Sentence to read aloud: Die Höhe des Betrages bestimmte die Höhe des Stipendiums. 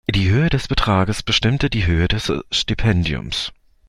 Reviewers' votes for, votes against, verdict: 1, 2, rejected